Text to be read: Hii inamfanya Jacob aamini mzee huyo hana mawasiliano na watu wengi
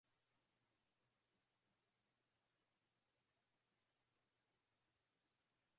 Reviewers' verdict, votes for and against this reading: rejected, 2, 3